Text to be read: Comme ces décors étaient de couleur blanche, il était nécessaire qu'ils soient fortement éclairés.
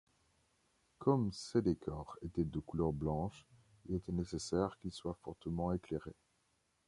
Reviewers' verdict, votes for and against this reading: accepted, 2, 0